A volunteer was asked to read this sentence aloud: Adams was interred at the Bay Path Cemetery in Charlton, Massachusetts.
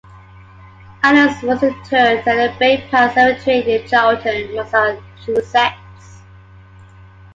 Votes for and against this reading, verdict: 2, 0, accepted